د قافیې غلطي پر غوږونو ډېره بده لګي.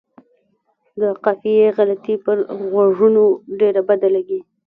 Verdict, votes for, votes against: rejected, 1, 2